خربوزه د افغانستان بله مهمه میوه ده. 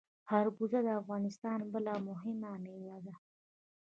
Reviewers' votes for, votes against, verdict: 1, 2, rejected